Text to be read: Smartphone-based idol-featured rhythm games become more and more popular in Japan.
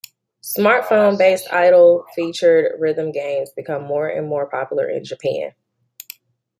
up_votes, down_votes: 1, 2